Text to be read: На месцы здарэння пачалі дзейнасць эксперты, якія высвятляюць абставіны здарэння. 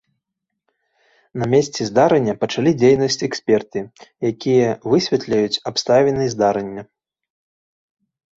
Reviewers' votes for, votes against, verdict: 0, 3, rejected